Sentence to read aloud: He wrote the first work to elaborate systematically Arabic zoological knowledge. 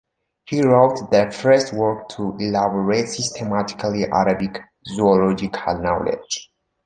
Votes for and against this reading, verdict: 3, 1, accepted